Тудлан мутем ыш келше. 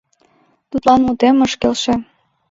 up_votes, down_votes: 2, 0